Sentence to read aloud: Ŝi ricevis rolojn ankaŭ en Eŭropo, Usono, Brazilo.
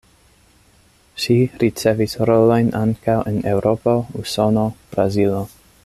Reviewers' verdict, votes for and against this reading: accepted, 2, 0